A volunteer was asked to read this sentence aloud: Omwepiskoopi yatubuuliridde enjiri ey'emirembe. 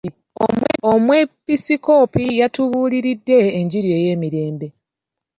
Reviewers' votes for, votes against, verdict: 1, 2, rejected